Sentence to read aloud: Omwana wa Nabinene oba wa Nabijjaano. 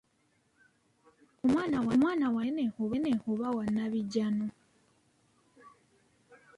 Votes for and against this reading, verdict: 1, 2, rejected